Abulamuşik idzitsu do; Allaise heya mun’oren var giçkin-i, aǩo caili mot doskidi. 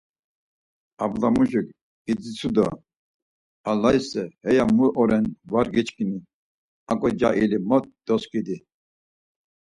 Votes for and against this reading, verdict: 4, 0, accepted